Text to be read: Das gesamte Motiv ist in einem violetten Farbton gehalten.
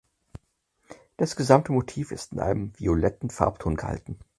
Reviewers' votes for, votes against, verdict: 4, 2, accepted